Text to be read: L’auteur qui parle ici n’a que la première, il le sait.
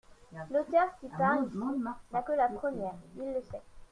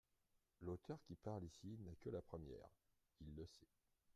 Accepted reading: second